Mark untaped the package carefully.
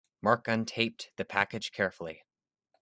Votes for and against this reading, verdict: 2, 0, accepted